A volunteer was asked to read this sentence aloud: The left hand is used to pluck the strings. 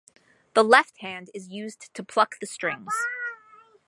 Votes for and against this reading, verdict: 1, 2, rejected